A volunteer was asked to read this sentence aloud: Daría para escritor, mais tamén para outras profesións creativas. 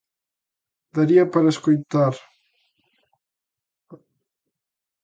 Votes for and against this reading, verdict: 0, 2, rejected